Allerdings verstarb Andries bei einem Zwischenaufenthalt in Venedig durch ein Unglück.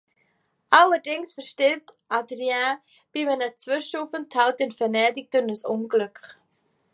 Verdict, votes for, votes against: rejected, 0, 2